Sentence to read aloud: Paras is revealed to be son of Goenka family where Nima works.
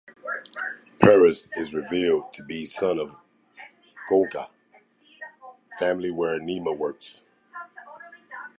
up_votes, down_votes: 1, 2